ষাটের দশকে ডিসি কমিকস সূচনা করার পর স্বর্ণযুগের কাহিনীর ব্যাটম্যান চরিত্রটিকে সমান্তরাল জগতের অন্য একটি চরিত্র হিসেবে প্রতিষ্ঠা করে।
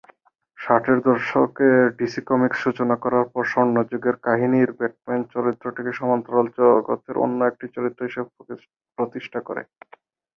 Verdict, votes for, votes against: rejected, 8, 14